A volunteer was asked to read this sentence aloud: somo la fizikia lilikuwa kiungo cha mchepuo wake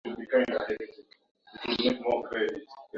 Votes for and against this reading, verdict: 1, 12, rejected